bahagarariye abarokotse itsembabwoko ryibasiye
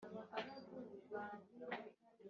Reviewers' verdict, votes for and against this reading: rejected, 0, 2